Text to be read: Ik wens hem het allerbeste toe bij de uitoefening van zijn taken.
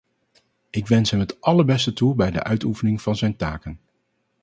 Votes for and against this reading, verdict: 2, 0, accepted